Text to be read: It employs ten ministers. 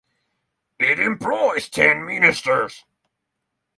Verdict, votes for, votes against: rejected, 3, 3